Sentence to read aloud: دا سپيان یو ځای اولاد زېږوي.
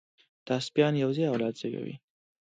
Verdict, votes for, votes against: accepted, 2, 0